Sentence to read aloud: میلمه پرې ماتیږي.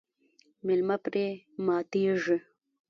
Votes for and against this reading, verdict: 1, 2, rejected